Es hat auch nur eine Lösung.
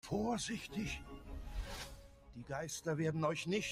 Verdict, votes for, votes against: rejected, 0, 2